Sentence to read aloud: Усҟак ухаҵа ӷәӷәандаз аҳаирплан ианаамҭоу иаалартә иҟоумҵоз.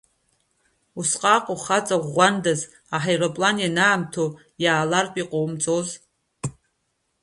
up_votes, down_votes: 2, 1